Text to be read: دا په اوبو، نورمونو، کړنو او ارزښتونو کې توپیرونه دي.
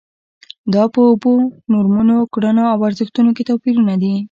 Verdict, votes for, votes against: accepted, 2, 0